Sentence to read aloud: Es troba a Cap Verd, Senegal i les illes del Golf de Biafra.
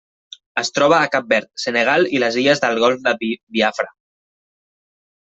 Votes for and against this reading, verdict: 0, 2, rejected